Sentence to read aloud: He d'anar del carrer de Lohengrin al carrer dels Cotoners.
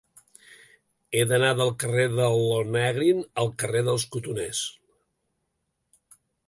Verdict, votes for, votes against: rejected, 1, 2